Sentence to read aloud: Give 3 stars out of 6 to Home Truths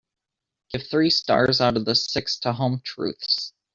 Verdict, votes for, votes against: rejected, 0, 2